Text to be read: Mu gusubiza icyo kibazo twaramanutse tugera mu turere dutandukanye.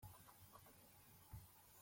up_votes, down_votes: 0, 2